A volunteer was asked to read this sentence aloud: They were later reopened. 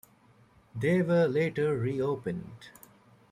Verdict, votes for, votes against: accepted, 2, 1